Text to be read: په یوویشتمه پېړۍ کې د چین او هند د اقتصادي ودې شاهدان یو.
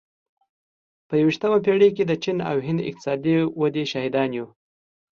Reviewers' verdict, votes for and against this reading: accepted, 2, 0